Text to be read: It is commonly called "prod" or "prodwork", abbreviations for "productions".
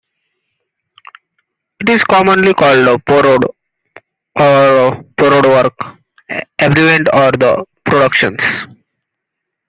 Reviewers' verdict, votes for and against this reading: rejected, 0, 2